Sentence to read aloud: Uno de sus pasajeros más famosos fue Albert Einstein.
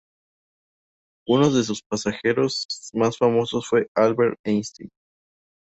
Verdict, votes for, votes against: rejected, 0, 2